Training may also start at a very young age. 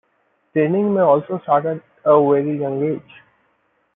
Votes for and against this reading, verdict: 0, 2, rejected